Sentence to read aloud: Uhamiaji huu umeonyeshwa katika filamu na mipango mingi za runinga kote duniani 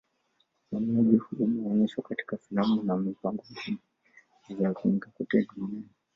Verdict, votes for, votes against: rejected, 1, 2